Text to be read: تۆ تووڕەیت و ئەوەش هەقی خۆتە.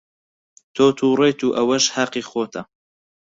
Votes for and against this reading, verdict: 6, 0, accepted